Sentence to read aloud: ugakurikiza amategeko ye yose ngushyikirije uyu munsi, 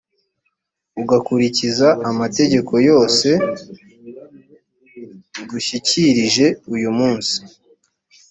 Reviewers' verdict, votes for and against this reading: rejected, 0, 2